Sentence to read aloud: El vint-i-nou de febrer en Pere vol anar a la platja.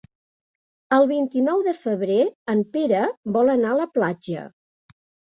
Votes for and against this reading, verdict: 3, 0, accepted